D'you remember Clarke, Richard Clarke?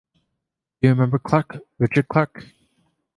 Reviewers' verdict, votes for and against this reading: accepted, 2, 0